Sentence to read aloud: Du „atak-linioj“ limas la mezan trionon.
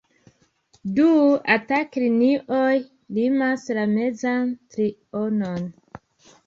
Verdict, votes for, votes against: accepted, 2, 1